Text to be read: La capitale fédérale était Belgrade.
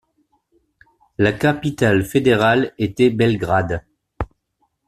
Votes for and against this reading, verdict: 2, 0, accepted